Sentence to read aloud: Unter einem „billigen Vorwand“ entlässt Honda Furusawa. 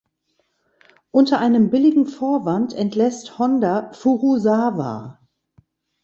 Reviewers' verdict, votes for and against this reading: accepted, 2, 0